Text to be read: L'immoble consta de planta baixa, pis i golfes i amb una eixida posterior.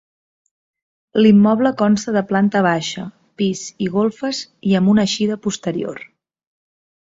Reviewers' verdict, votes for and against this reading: accepted, 2, 0